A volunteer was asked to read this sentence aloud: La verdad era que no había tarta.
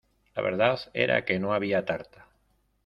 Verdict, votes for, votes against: rejected, 1, 2